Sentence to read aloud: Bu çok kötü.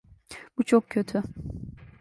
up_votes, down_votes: 2, 0